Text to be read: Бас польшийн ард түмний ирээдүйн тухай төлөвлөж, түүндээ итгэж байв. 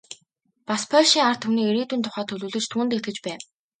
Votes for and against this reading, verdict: 2, 0, accepted